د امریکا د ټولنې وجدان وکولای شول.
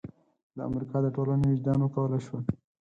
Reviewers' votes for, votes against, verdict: 12, 6, accepted